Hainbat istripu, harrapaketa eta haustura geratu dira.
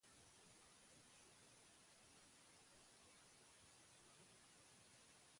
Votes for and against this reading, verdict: 0, 6, rejected